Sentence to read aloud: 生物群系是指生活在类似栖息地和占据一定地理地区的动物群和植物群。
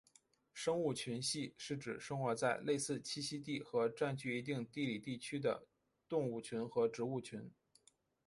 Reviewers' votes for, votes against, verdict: 2, 1, accepted